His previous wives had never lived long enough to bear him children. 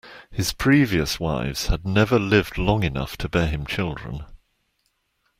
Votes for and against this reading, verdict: 2, 0, accepted